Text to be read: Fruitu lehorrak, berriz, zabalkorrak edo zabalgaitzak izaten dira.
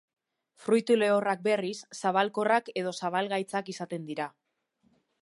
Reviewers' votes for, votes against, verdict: 2, 0, accepted